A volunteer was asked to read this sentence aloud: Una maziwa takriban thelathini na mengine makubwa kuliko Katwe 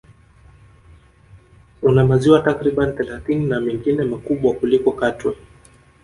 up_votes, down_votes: 4, 0